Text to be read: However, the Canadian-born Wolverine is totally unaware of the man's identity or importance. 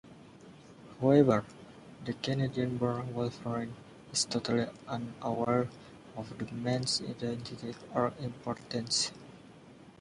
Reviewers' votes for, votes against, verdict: 0, 2, rejected